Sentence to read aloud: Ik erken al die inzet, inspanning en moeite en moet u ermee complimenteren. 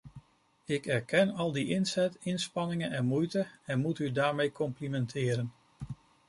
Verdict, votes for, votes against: rejected, 0, 2